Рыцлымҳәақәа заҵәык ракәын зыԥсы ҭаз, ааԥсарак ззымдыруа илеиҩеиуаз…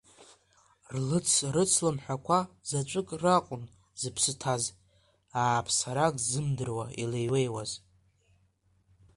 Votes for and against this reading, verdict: 0, 2, rejected